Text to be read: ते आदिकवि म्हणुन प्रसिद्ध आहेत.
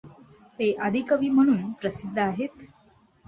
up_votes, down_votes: 2, 0